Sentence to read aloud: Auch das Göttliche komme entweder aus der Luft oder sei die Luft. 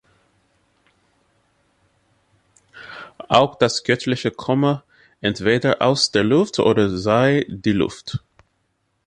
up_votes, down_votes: 2, 0